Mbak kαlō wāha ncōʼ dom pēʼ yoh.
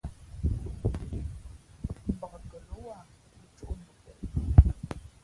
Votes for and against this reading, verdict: 0, 2, rejected